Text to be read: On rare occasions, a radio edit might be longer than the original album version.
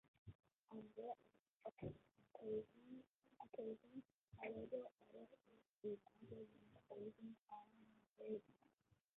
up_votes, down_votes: 0, 2